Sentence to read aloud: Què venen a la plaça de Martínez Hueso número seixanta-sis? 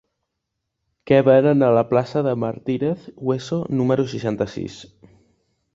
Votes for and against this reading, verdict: 2, 0, accepted